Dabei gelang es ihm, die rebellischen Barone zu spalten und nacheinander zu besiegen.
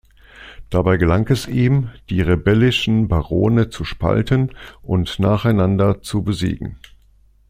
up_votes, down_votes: 2, 0